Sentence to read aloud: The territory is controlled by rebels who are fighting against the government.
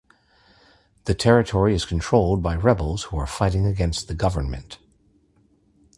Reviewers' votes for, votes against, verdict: 2, 0, accepted